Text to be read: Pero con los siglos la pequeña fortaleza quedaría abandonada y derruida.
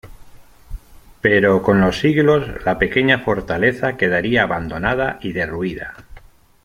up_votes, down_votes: 2, 0